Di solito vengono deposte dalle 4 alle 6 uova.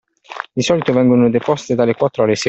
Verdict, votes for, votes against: rejected, 0, 2